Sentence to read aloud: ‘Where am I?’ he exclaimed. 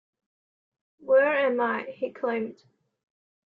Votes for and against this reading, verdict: 0, 2, rejected